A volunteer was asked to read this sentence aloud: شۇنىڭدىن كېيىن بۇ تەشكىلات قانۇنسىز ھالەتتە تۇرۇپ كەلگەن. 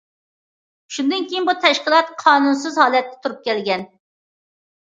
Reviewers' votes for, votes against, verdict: 2, 0, accepted